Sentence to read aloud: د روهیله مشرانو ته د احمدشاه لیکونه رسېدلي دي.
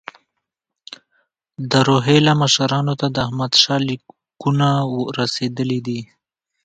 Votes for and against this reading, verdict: 0, 2, rejected